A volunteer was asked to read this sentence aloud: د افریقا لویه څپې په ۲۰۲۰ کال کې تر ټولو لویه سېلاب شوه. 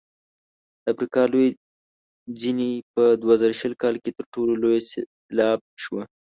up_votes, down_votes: 0, 2